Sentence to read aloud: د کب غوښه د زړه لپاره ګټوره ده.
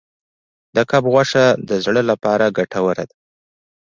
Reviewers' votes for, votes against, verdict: 2, 0, accepted